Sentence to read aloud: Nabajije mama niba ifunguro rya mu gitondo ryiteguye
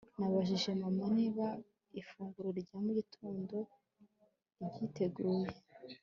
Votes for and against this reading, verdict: 1, 2, rejected